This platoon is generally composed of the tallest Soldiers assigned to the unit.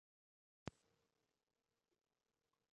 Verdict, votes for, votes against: rejected, 0, 2